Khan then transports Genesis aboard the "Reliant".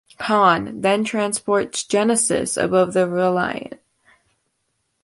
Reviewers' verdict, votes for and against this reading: rejected, 1, 2